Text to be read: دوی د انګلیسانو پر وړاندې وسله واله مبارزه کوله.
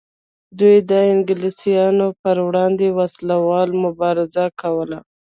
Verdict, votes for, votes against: rejected, 1, 2